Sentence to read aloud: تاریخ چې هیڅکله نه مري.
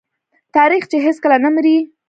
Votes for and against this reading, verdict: 1, 2, rejected